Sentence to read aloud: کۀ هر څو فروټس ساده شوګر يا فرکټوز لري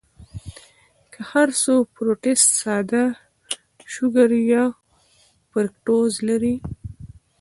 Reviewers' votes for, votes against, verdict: 2, 0, accepted